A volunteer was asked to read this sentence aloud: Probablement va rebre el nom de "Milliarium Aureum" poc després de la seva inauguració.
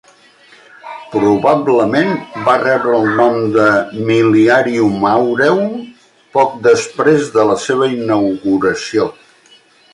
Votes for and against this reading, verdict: 2, 0, accepted